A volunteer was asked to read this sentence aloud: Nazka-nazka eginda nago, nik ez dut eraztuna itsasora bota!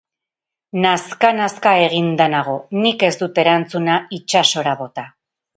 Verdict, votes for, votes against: rejected, 2, 4